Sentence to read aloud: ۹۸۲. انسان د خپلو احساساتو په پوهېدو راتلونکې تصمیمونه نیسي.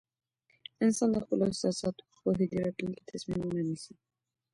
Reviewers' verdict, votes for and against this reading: rejected, 0, 2